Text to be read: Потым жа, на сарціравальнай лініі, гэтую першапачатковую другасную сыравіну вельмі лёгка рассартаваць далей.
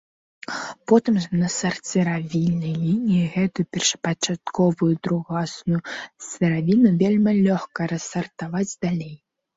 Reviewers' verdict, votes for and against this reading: rejected, 0, 2